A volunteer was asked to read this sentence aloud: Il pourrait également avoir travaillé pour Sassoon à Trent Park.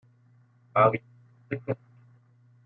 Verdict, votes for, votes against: rejected, 0, 2